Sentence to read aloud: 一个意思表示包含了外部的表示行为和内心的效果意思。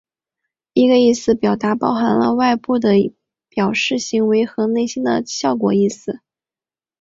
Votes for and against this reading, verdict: 0, 2, rejected